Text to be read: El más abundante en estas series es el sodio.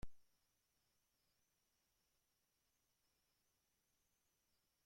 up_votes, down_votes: 1, 2